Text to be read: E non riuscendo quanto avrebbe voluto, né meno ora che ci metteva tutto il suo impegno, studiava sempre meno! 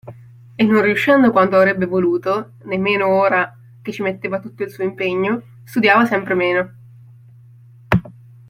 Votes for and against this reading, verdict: 2, 1, accepted